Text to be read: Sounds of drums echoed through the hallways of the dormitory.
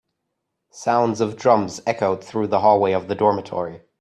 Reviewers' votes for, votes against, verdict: 1, 2, rejected